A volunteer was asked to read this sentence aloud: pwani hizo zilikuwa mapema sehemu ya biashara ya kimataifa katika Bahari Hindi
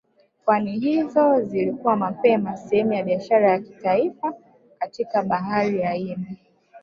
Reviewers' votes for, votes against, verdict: 2, 1, accepted